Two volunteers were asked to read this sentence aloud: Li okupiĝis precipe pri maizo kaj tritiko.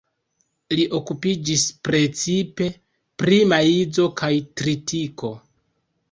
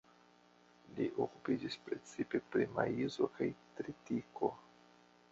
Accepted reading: first